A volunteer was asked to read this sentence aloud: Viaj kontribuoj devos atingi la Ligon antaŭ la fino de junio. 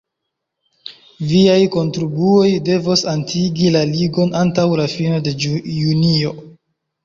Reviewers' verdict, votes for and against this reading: rejected, 1, 2